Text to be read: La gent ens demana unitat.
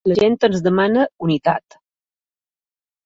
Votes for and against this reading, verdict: 2, 0, accepted